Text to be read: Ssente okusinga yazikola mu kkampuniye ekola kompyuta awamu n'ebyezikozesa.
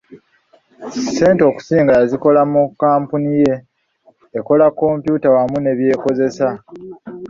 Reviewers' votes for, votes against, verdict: 1, 2, rejected